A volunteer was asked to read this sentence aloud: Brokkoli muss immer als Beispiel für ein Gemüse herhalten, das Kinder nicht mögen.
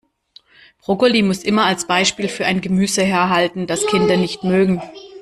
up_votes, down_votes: 2, 0